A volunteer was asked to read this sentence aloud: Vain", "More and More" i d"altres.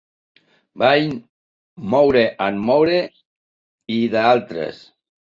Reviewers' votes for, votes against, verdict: 1, 2, rejected